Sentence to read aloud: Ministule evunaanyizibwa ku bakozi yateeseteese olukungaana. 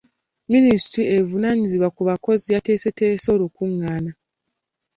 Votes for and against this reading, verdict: 2, 0, accepted